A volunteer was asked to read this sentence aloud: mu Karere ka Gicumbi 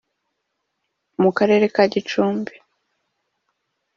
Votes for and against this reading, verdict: 2, 0, accepted